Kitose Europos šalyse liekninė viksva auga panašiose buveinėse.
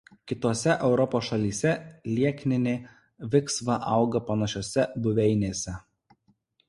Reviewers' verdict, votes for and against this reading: accepted, 2, 0